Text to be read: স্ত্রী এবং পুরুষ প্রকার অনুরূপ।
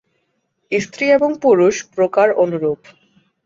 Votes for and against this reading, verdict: 10, 2, accepted